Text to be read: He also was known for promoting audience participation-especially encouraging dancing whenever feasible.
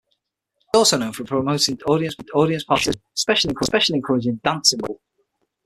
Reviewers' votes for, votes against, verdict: 0, 6, rejected